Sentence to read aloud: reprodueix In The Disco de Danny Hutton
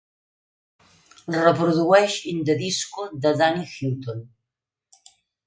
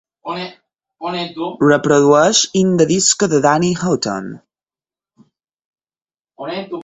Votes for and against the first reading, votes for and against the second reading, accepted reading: 2, 0, 0, 4, first